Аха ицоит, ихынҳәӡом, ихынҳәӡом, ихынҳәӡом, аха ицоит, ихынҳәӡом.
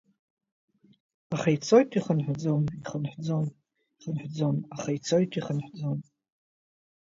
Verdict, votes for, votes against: accepted, 2, 0